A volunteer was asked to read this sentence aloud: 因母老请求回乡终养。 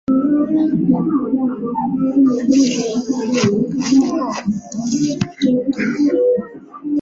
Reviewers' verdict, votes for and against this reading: rejected, 0, 3